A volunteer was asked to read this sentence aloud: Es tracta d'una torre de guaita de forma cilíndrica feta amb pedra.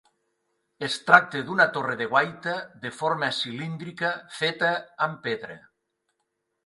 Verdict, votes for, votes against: rejected, 0, 2